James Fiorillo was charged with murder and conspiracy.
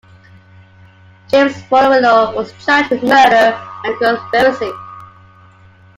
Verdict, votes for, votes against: accepted, 2, 1